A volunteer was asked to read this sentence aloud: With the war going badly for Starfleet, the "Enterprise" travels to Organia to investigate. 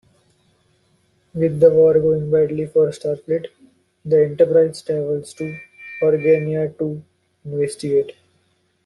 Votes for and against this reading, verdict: 2, 0, accepted